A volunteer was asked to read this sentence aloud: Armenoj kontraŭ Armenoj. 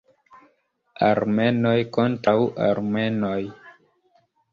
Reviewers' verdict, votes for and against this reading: accepted, 2, 1